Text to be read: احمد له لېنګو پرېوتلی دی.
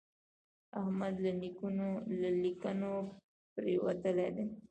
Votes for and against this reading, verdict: 2, 1, accepted